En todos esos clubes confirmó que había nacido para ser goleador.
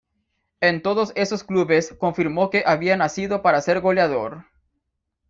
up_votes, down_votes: 2, 0